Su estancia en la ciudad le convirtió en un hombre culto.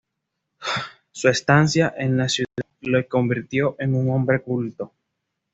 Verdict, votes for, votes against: accepted, 2, 0